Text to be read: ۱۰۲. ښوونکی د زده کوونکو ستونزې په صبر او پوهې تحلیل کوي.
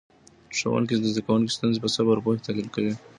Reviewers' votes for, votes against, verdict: 0, 2, rejected